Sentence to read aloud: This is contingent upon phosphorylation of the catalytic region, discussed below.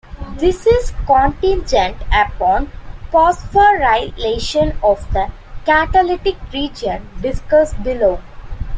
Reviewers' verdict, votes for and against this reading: rejected, 1, 2